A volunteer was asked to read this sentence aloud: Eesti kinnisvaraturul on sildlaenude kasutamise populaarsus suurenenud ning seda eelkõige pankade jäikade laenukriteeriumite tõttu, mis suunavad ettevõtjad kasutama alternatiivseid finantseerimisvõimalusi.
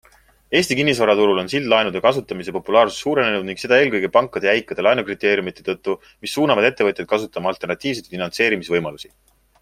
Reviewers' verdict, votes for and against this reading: accepted, 2, 0